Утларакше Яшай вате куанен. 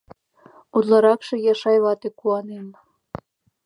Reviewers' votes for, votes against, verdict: 2, 0, accepted